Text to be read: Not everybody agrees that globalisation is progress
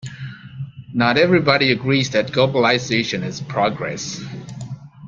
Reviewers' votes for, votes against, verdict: 1, 2, rejected